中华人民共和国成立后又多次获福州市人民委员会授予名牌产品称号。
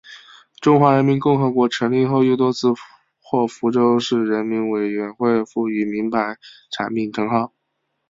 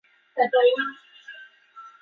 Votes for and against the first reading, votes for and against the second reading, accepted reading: 3, 1, 0, 2, first